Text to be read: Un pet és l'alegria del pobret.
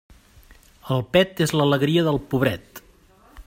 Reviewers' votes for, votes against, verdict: 0, 2, rejected